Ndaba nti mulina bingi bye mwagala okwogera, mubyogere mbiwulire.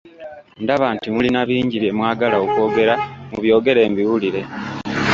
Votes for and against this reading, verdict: 0, 2, rejected